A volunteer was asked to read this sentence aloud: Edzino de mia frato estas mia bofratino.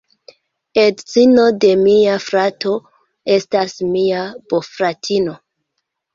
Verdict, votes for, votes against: accepted, 2, 0